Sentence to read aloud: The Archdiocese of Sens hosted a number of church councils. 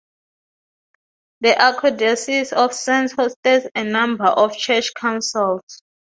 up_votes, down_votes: 2, 0